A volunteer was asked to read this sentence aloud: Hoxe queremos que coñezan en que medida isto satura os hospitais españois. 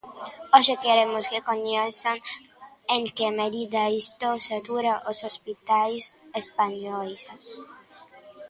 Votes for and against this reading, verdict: 0, 2, rejected